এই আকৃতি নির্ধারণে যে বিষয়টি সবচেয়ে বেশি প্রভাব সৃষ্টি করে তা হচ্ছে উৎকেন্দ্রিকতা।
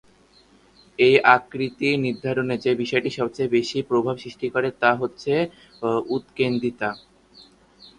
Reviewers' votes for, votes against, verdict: 1, 5, rejected